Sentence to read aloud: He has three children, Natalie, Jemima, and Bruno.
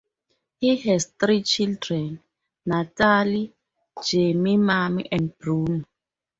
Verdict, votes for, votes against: rejected, 2, 2